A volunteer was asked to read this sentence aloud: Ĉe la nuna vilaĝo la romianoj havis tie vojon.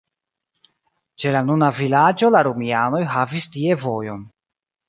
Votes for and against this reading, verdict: 1, 2, rejected